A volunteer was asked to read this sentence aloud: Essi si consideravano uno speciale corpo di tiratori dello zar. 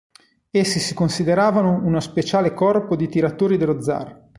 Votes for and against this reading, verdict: 2, 1, accepted